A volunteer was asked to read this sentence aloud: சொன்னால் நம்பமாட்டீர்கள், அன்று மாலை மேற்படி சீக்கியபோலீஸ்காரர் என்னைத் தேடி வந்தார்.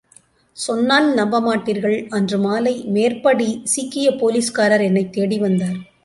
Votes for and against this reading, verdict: 2, 0, accepted